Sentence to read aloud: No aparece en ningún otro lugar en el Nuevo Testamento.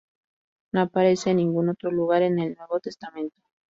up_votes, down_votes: 2, 2